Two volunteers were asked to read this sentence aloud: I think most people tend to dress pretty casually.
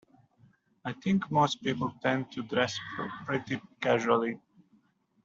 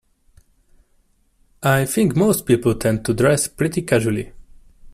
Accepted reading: second